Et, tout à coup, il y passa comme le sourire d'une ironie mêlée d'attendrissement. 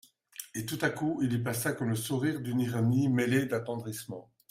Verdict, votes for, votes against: accepted, 2, 0